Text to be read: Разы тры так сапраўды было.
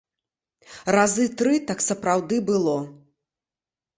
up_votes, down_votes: 2, 0